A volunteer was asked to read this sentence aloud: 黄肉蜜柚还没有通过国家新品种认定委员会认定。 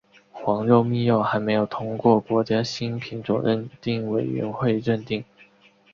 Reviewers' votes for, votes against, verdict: 4, 0, accepted